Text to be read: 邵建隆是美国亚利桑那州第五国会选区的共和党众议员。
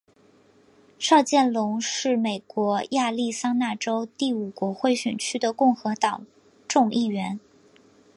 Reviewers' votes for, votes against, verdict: 2, 0, accepted